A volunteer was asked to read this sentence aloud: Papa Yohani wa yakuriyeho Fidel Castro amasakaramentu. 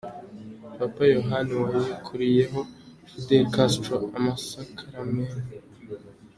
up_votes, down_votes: 2, 1